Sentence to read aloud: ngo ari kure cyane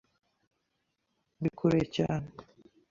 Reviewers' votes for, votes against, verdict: 1, 2, rejected